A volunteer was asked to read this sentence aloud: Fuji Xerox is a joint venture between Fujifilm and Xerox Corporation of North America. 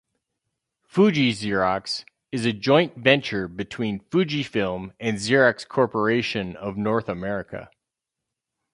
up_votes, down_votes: 2, 2